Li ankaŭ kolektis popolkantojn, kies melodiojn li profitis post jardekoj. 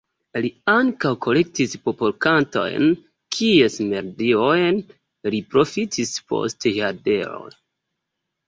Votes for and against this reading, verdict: 2, 0, accepted